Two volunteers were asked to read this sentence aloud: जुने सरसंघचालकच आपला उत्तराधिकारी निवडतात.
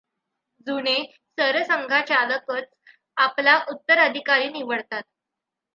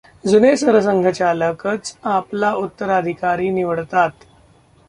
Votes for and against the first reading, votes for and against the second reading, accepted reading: 2, 0, 0, 2, first